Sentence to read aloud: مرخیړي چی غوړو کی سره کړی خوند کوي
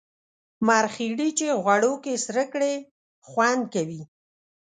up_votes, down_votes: 2, 0